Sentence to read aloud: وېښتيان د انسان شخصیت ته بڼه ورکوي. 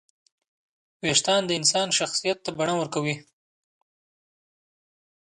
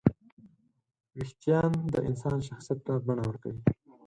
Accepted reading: second